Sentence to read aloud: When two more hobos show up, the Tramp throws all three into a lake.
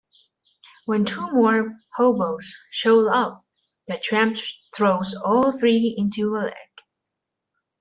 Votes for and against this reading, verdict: 0, 2, rejected